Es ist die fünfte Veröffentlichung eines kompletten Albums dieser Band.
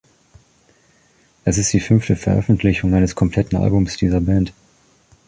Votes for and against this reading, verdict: 2, 0, accepted